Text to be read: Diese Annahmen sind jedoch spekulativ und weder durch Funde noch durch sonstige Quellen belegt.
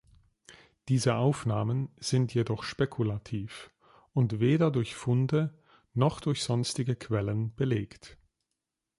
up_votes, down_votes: 0, 2